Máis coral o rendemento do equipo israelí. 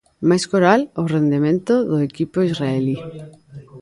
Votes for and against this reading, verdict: 1, 2, rejected